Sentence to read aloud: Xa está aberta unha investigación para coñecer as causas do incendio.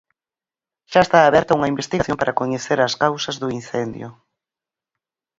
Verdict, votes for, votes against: accepted, 4, 0